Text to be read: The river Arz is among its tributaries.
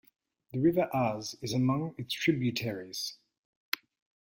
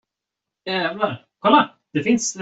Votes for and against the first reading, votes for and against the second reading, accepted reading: 2, 1, 0, 2, first